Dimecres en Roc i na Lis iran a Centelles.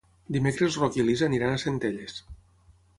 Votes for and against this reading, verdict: 0, 6, rejected